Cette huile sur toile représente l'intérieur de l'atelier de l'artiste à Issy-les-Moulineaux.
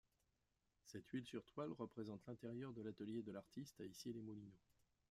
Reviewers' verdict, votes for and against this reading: rejected, 1, 2